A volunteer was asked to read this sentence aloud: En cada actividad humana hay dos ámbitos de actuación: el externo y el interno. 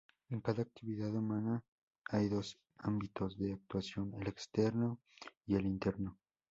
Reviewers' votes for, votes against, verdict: 2, 0, accepted